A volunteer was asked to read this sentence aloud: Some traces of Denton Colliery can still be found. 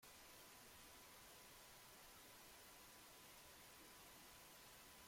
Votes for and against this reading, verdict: 0, 2, rejected